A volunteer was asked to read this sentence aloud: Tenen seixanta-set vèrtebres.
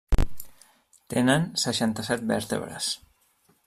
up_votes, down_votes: 3, 0